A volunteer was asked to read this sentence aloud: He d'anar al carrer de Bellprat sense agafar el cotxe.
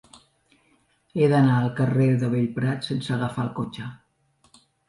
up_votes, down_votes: 3, 0